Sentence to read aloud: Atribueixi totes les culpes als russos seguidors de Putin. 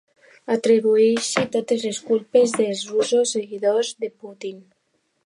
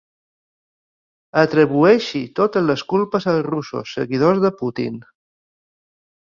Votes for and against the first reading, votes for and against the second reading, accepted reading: 0, 2, 3, 0, second